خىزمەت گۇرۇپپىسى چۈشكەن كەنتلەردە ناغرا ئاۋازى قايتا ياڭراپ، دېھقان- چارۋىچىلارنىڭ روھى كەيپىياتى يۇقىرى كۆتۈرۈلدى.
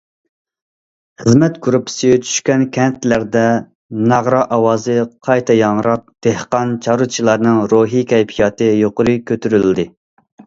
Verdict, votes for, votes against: accepted, 2, 0